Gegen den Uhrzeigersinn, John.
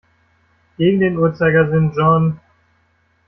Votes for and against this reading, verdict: 1, 2, rejected